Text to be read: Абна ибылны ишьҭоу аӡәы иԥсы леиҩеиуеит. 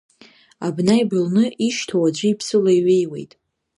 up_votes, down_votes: 2, 0